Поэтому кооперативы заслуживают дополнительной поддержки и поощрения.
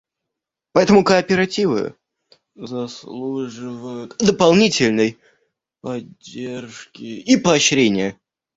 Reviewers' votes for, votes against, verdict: 1, 2, rejected